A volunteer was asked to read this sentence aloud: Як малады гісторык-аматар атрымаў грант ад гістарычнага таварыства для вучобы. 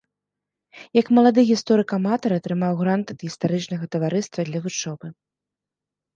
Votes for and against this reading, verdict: 2, 0, accepted